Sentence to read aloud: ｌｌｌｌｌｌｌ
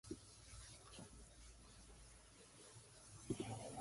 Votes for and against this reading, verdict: 0, 2, rejected